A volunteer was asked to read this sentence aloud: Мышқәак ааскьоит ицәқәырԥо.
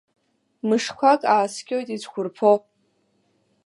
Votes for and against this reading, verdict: 2, 0, accepted